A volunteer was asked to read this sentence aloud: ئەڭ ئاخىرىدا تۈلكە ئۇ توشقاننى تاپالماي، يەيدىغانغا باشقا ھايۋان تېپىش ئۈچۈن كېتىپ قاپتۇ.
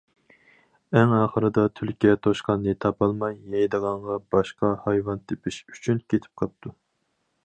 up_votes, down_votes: 2, 4